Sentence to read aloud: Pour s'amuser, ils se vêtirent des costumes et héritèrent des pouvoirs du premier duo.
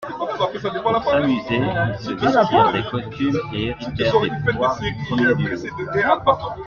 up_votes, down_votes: 2, 1